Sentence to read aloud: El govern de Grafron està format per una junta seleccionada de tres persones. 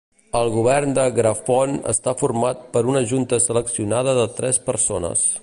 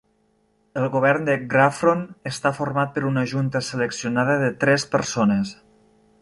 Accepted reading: second